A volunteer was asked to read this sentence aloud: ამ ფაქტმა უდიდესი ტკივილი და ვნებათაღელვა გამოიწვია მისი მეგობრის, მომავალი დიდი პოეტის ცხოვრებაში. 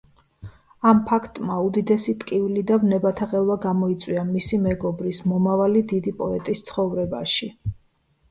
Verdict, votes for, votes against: accepted, 2, 1